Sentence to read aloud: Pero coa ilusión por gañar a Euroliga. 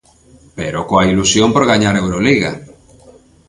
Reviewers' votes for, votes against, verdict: 2, 0, accepted